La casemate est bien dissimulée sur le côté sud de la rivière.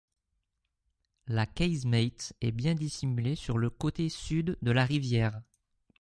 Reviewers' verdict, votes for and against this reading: rejected, 0, 2